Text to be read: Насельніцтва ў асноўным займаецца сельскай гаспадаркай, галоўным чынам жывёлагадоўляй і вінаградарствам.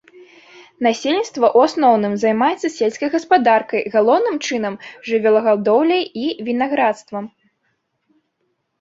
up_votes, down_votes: 0, 2